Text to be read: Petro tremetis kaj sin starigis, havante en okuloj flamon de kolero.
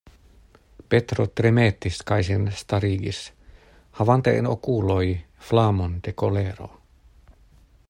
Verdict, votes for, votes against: accepted, 2, 0